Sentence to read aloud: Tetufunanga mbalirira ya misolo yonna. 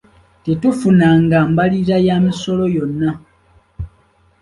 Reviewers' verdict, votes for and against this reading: accepted, 2, 1